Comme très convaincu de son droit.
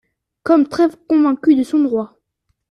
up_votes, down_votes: 1, 2